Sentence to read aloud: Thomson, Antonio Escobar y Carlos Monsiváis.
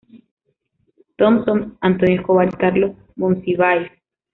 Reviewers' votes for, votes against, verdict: 0, 2, rejected